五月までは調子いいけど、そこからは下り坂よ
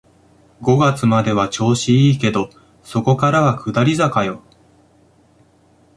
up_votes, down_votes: 2, 1